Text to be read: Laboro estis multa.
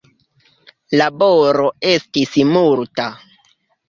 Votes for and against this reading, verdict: 2, 0, accepted